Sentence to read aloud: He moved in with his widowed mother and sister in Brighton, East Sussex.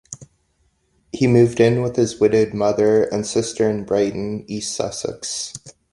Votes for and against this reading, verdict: 2, 0, accepted